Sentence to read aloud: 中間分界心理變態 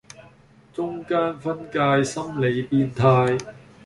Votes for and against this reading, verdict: 2, 0, accepted